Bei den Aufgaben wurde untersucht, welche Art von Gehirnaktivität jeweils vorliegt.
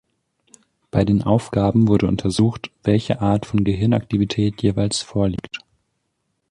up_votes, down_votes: 2, 1